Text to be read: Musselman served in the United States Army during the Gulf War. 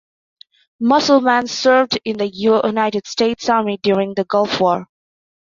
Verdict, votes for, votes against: accepted, 2, 0